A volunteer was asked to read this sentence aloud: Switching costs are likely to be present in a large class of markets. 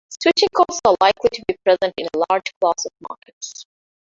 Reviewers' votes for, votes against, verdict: 0, 2, rejected